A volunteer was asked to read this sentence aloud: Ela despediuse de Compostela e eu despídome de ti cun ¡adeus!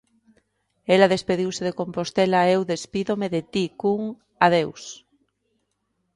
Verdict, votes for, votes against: accepted, 2, 0